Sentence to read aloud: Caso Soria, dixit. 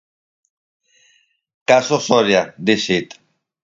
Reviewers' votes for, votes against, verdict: 4, 0, accepted